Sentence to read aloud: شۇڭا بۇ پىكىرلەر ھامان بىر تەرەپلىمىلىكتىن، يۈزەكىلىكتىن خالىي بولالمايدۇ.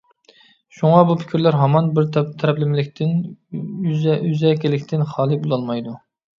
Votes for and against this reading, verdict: 0, 2, rejected